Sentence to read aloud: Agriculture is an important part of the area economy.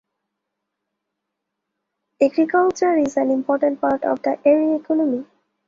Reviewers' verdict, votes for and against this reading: rejected, 1, 2